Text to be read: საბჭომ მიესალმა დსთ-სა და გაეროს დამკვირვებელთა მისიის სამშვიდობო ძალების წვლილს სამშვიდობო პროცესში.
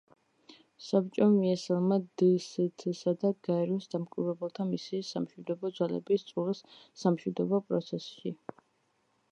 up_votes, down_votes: 2, 0